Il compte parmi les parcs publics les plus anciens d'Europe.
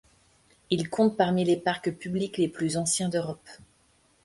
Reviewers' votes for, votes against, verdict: 1, 2, rejected